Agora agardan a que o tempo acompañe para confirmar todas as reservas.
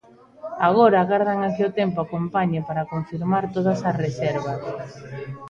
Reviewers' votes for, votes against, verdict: 1, 2, rejected